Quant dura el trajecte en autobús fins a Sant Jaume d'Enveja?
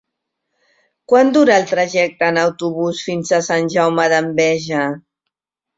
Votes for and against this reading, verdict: 3, 0, accepted